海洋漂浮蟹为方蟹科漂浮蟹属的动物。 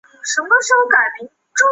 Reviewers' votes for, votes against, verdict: 1, 4, rejected